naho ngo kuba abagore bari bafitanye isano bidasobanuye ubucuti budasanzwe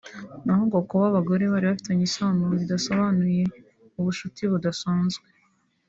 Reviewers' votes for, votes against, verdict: 4, 0, accepted